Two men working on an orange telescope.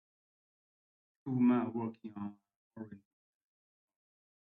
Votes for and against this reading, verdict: 0, 2, rejected